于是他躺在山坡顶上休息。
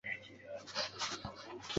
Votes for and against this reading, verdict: 0, 2, rejected